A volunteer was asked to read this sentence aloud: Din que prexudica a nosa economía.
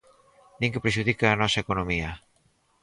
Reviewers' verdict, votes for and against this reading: accepted, 4, 0